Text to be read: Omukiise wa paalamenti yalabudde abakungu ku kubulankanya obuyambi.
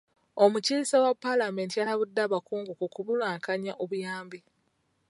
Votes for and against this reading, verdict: 1, 2, rejected